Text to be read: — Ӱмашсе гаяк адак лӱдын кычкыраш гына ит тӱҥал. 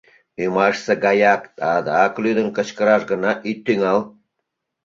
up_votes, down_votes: 3, 0